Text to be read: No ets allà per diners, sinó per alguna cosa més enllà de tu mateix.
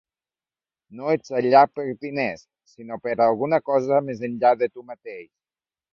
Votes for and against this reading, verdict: 2, 0, accepted